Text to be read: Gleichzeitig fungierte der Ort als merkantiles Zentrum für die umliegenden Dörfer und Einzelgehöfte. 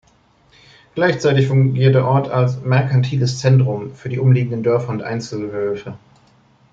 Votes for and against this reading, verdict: 1, 2, rejected